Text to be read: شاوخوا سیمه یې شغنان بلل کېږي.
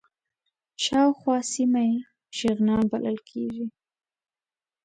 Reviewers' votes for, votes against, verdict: 2, 0, accepted